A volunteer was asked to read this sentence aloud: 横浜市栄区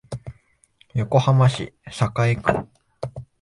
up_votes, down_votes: 6, 1